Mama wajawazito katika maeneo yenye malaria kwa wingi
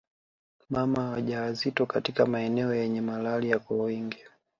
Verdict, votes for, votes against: accepted, 2, 0